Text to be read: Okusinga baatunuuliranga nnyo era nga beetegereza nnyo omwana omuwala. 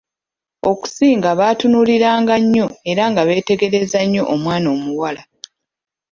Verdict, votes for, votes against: rejected, 1, 2